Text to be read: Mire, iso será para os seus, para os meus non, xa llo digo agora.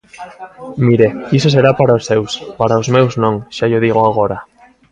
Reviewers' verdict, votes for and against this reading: accepted, 2, 1